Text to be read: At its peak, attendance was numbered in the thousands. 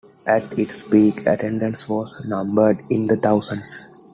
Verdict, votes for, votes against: accepted, 2, 0